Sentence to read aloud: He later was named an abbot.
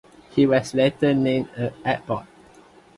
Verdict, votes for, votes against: rejected, 1, 2